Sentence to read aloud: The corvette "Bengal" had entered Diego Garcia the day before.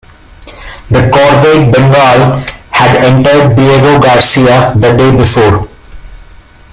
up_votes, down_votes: 2, 0